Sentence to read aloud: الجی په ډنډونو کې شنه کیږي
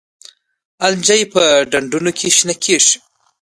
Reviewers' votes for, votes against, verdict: 1, 2, rejected